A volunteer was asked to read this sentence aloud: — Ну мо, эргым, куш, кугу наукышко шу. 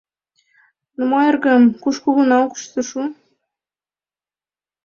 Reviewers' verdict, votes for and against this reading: accepted, 2, 1